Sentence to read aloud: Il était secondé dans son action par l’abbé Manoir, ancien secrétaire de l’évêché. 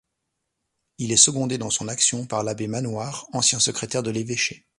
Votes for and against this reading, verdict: 0, 2, rejected